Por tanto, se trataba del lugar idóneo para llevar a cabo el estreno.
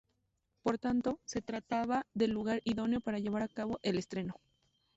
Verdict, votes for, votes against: rejected, 0, 2